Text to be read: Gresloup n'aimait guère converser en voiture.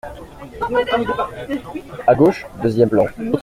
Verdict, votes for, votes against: rejected, 0, 2